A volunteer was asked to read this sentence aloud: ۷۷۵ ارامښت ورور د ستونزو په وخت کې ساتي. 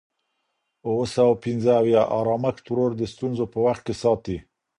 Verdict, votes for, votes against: rejected, 0, 2